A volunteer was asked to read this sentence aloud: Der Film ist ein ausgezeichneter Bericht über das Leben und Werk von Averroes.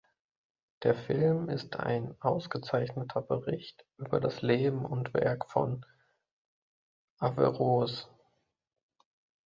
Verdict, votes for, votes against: rejected, 2, 3